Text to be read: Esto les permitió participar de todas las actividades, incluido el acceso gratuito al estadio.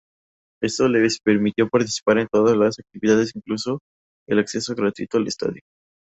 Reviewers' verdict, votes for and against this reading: rejected, 0, 2